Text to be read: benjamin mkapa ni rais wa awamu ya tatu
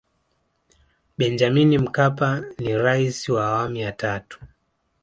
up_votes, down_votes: 2, 0